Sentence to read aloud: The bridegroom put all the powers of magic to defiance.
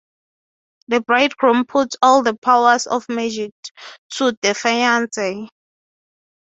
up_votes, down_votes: 0, 3